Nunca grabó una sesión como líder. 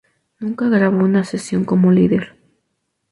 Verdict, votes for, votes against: rejected, 0, 2